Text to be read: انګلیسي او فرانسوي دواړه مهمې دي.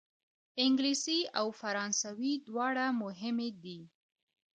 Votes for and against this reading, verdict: 0, 2, rejected